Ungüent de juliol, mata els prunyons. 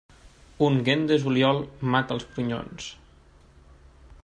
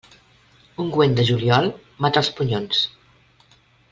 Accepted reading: first